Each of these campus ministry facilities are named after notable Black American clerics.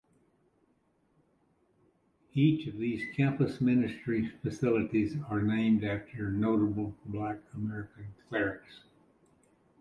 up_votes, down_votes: 2, 0